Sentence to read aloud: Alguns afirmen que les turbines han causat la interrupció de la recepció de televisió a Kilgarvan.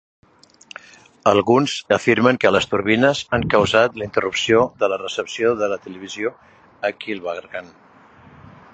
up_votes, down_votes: 0, 2